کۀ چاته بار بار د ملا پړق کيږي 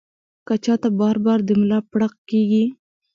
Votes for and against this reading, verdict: 1, 2, rejected